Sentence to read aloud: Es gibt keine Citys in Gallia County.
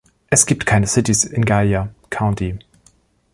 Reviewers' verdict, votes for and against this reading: accepted, 2, 0